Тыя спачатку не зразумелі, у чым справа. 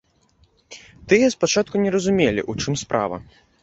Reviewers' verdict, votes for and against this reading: rejected, 0, 2